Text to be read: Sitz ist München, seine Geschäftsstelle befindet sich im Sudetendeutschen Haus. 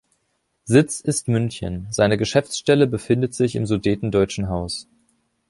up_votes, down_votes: 2, 0